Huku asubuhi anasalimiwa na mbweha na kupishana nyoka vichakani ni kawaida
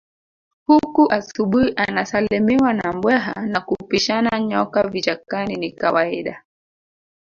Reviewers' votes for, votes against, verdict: 5, 2, accepted